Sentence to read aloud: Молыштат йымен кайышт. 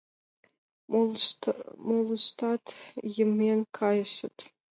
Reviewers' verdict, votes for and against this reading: rejected, 1, 2